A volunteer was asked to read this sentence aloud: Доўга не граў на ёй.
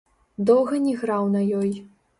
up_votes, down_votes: 0, 2